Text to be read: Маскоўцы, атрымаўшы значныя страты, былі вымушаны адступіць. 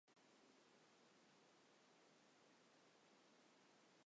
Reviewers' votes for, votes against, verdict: 0, 2, rejected